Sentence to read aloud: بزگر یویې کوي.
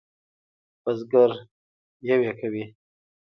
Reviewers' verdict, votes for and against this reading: accepted, 2, 1